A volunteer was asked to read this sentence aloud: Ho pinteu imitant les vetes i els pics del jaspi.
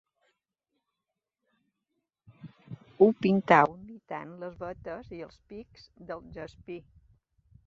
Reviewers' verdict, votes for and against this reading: rejected, 2, 3